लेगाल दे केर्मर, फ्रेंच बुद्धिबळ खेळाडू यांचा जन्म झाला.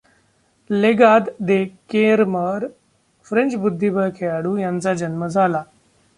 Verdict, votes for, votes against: rejected, 0, 2